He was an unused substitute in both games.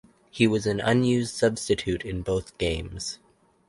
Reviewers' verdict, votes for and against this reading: accepted, 4, 0